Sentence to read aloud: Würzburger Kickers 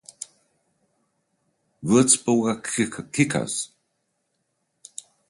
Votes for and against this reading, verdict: 0, 2, rejected